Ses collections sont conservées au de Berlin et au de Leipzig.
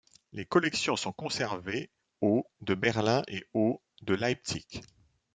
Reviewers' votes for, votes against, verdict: 1, 2, rejected